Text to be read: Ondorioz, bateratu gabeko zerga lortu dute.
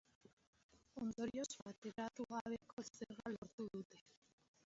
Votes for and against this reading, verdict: 1, 5, rejected